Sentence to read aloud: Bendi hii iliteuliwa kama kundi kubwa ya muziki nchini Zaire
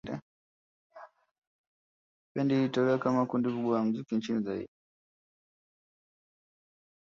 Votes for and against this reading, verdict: 1, 2, rejected